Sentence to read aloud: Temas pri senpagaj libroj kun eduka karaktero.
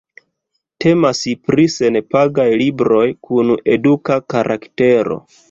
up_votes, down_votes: 1, 2